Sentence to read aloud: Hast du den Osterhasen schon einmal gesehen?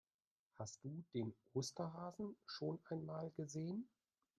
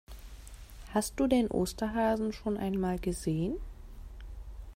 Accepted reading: second